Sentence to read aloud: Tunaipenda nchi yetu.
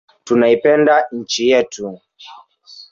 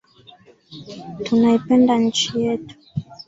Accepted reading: second